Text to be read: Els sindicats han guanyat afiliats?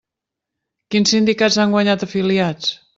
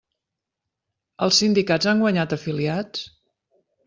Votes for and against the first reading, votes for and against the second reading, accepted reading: 1, 2, 3, 0, second